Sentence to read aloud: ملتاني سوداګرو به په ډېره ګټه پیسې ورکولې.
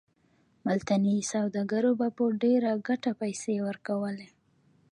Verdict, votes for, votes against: rejected, 0, 2